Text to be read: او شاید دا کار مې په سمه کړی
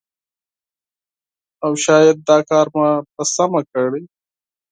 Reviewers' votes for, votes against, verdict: 0, 4, rejected